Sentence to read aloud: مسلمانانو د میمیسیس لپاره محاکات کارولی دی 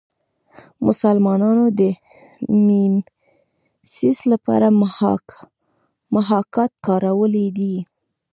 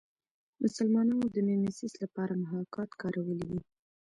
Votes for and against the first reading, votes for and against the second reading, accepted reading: 0, 3, 2, 0, second